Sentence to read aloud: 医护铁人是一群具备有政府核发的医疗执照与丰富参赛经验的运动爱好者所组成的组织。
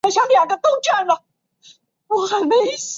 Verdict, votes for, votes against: rejected, 0, 3